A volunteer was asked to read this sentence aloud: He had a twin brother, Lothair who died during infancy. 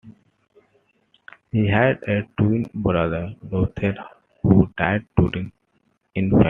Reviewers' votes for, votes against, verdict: 2, 1, accepted